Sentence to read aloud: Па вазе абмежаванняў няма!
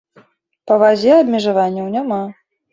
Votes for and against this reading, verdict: 2, 0, accepted